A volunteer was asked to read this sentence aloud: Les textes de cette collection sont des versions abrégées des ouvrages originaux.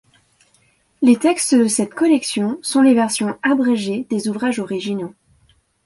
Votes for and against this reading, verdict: 1, 2, rejected